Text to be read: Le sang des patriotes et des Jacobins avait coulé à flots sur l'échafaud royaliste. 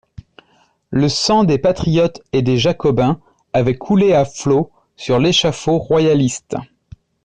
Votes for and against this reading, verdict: 2, 0, accepted